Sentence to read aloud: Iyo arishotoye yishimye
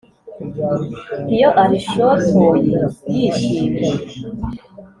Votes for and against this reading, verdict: 2, 0, accepted